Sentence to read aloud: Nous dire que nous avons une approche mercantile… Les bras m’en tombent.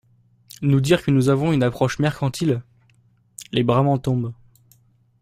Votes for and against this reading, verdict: 3, 0, accepted